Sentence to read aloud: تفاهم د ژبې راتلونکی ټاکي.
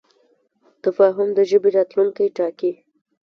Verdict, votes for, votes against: accepted, 2, 0